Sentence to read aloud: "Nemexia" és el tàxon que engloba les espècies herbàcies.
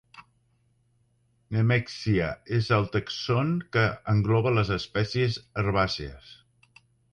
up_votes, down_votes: 2, 3